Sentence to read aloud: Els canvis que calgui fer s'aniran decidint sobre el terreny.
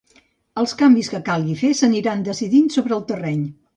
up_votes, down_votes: 2, 0